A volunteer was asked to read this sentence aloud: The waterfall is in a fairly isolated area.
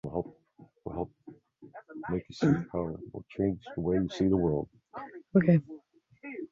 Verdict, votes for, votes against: rejected, 0, 2